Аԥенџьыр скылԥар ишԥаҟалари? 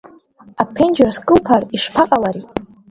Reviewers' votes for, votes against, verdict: 2, 0, accepted